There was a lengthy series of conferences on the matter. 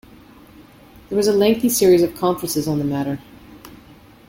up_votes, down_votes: 2, 0